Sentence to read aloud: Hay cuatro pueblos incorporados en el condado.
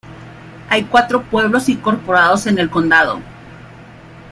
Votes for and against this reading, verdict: 2, 1, accepted